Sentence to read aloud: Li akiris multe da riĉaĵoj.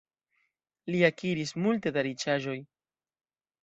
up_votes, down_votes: 2, 1